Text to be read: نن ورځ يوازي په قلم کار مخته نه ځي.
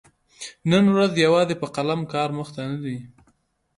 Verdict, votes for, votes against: rejected, 1, 2